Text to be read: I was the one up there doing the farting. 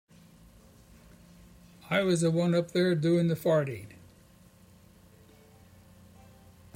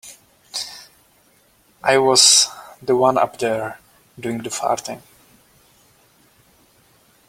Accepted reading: second